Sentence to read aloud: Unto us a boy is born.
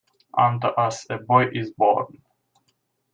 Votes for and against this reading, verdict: 2, 0, accepted